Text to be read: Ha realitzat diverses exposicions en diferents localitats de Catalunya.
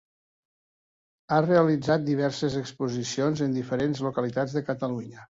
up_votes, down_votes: 3, 0